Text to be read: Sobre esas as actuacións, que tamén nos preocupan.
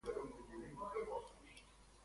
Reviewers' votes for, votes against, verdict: 0, 2, rejected